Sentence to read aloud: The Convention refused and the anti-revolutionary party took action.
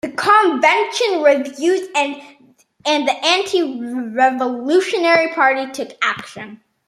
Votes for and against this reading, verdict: 1, 2, rejected